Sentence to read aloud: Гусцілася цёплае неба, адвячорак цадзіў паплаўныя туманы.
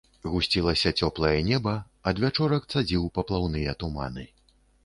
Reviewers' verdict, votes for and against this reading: accepted, 3, 0